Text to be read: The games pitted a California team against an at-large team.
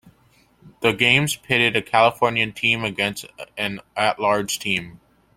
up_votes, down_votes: 2, 0